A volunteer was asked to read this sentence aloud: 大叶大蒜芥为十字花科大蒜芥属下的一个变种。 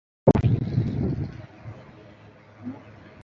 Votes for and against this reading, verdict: 0, 2, rejected